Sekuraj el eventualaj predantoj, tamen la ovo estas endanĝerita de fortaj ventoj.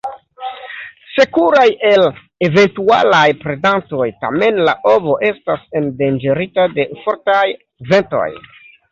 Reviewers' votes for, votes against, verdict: 2, 0, accepted